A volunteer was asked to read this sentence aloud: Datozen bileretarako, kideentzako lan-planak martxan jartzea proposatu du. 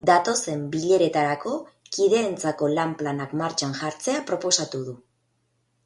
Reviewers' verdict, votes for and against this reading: accepted, 4, 0